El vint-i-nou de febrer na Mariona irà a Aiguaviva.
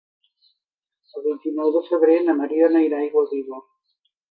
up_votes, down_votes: 2, 1